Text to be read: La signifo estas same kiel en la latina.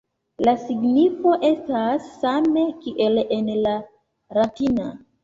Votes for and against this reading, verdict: 2, 0, accepted